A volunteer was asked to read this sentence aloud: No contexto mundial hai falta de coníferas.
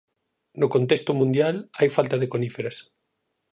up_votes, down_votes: 4, 0